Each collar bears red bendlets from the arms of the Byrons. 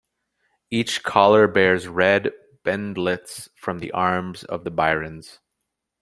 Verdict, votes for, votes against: accepted, 4, 0